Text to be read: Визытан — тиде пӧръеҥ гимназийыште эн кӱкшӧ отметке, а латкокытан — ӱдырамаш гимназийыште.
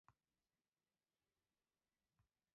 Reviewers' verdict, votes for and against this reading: rejected, 0, 2